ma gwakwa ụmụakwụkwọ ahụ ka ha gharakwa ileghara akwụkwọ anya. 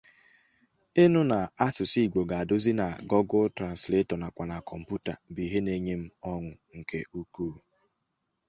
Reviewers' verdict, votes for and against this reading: rejected, 0, 2